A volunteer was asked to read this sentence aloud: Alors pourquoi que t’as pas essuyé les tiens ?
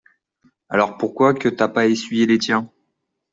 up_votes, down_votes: 2, 0